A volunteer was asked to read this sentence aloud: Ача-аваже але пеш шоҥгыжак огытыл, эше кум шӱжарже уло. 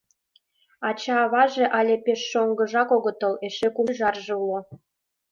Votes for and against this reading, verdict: 0, 2, rejected